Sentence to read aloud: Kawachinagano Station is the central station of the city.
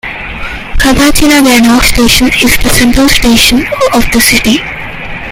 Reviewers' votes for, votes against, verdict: 3, 2, accepted